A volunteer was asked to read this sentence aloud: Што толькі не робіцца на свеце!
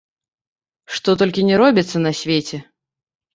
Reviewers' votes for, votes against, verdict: 0, 2, rejected